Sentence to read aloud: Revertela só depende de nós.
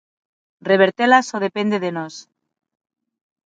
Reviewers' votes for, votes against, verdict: 9, 0, accepted